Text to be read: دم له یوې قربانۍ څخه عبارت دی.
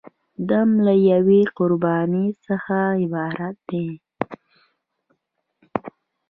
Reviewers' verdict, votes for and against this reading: rejected, 1, 2